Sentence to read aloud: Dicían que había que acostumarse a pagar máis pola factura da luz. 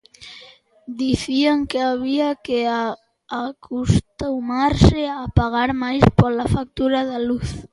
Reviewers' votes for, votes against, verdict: 0, 2, rejected